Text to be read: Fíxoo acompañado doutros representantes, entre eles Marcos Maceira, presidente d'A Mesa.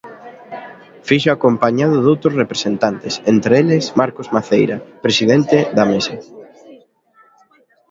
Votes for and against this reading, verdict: 2, 0, accepted